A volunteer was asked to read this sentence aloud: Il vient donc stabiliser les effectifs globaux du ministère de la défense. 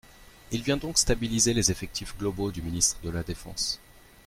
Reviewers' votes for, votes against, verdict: 1, 2, rejected